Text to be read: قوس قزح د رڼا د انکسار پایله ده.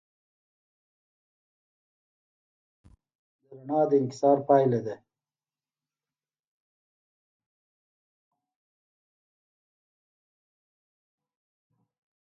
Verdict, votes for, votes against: rejected, 1, 2